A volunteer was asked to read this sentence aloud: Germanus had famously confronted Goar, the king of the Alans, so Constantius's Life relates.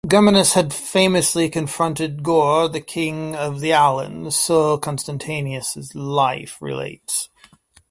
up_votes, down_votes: 1, 2